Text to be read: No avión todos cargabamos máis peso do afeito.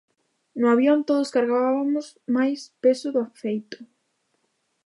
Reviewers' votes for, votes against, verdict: 0, 2, rejected